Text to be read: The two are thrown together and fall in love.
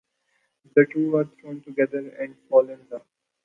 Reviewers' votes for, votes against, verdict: 1, 2, rejected